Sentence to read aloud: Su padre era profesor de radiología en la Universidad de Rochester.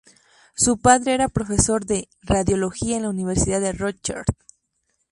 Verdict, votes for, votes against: rejected, 0, 2